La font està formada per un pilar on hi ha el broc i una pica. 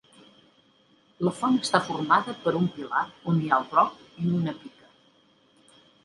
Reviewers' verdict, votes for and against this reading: rejected, 1, 2